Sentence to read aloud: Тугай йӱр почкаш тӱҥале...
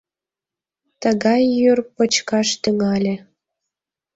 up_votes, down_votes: 0, 2